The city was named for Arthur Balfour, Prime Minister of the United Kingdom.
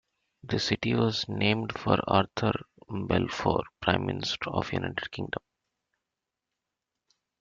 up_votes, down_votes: 0, 2